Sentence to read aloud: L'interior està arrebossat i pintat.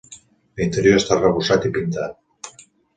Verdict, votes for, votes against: accepted, 2, 0